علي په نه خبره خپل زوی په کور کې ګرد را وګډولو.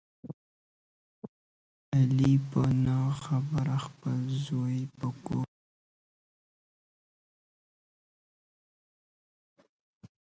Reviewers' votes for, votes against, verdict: 0, 2, rejected